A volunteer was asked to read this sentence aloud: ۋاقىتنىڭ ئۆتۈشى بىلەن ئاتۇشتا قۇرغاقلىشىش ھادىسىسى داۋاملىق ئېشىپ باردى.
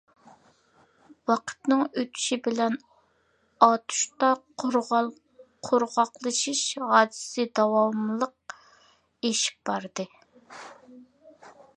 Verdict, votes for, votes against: rejected, 0, 2